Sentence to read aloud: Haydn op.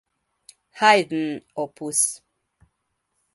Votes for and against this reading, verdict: 1, 2, rejected